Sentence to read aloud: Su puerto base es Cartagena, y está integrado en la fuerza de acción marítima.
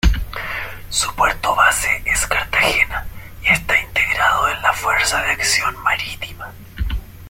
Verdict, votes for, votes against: accepted, 2, 0